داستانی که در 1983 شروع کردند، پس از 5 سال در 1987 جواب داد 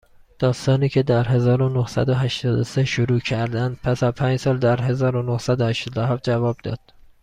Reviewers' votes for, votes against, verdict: 0, 2, rejected